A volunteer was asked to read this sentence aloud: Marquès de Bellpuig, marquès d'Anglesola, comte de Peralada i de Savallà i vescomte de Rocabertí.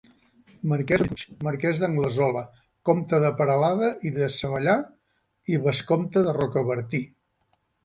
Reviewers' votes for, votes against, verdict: 0, 2, rejected